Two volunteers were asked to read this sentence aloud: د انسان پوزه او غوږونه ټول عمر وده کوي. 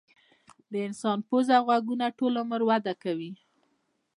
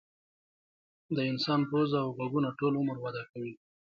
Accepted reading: second